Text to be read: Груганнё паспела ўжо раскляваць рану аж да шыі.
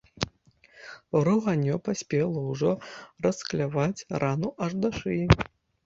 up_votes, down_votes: 1, 2